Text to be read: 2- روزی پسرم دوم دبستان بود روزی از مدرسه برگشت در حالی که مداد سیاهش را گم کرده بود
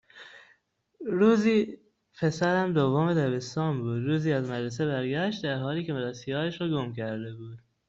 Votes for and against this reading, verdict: 0, 2, rejected